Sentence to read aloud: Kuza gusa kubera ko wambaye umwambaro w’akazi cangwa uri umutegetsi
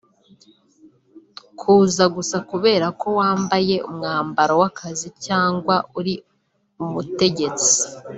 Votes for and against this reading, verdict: 1, 2, rejected